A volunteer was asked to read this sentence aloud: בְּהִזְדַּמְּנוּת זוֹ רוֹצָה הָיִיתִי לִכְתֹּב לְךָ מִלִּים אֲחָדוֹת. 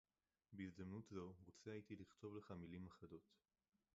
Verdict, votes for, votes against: rejected, 2, 4